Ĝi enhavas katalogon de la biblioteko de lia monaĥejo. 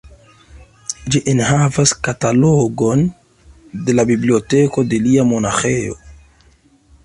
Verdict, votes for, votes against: accepted, 2, 0